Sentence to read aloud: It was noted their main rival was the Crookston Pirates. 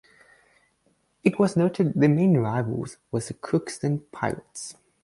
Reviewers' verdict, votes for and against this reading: rejected, 0, 2